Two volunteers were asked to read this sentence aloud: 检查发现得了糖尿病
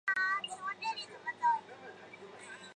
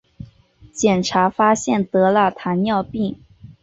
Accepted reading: second